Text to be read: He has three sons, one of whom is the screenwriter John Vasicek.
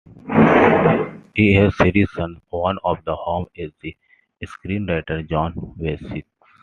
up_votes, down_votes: 1, 2